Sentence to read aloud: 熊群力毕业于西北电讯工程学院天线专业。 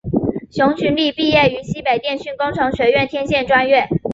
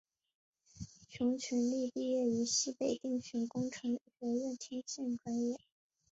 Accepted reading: first